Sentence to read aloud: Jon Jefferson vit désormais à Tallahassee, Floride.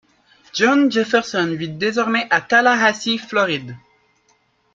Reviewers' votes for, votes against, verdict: 2, 1, accepted